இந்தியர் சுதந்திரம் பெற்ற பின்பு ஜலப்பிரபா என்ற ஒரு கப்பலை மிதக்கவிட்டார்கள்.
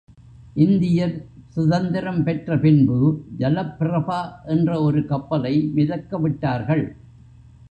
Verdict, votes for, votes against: accepted, 2, 0